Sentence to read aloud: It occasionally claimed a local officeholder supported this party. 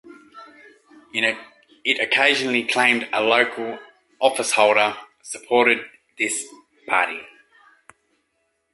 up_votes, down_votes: 2, 1